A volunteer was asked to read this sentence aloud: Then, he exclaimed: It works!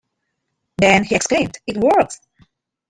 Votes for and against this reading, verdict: 2, 0, accepted